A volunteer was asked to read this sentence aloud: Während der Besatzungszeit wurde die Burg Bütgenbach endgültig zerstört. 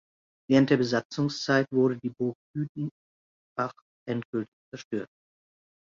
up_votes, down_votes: 0, 2